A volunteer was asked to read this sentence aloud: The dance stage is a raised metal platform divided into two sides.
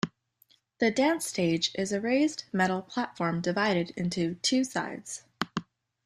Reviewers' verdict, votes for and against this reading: accepted, 3, 0